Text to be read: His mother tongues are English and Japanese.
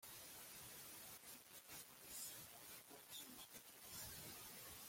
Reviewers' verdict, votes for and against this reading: rejected, 0, 2